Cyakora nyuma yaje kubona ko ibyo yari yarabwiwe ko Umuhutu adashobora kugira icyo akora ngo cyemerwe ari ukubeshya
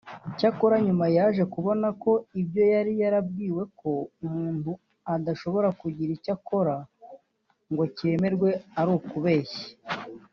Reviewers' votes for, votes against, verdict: 1, 2, rejected